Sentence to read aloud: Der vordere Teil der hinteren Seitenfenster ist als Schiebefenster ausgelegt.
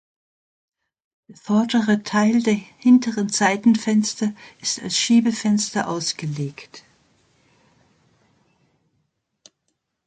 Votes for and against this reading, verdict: 0, 2, rejected